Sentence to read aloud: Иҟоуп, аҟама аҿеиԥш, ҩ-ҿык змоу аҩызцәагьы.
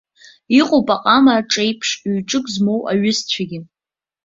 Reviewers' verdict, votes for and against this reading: accepted, 2, 0